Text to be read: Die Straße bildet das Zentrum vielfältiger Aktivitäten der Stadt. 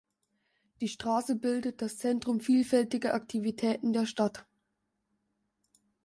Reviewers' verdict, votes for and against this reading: accepted, 2, 0